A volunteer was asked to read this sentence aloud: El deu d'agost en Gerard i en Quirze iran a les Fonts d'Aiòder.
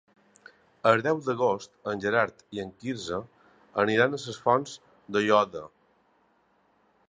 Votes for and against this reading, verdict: 0, 2, rejected